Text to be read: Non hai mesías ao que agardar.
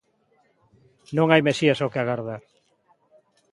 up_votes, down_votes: 2, 0